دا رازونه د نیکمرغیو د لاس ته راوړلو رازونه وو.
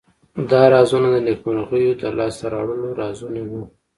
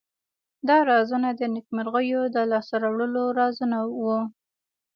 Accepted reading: first